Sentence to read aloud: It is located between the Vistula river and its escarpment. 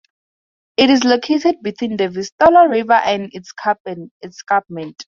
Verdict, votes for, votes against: rejected, 0, 4